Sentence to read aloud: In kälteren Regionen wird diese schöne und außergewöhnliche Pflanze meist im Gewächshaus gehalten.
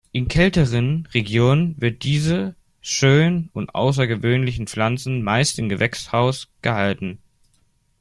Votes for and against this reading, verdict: 1, 2, rejected